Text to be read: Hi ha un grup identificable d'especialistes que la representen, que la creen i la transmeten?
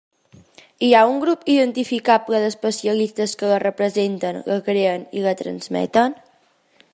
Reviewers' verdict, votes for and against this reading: rejected, 0, 2